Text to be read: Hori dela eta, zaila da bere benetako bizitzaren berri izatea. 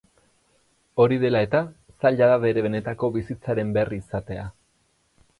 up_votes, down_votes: 4, 0